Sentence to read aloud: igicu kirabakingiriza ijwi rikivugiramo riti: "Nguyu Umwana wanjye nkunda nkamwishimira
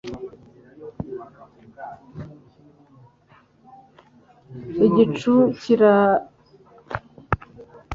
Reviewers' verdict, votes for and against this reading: rejected, 1, 2